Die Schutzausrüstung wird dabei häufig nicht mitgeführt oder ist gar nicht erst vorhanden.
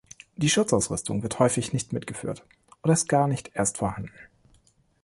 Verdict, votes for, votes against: rejected, 2, 2